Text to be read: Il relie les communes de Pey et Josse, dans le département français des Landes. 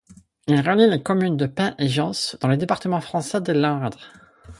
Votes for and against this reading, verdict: 4, 2, accepted